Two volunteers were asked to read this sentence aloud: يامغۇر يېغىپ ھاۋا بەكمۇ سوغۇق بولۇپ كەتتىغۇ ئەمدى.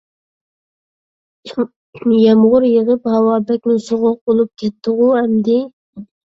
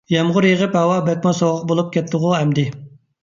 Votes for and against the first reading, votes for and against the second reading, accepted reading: 0, 2, 2, 0, second